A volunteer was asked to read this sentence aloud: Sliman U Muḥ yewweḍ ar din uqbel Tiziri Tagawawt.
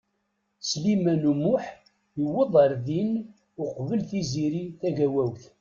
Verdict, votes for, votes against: accepted, 2, 0